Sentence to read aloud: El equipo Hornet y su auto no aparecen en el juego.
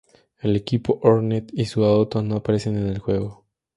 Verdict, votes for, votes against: accepted, 2, 0